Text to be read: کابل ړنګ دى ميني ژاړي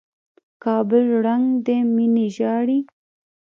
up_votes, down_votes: 1, 2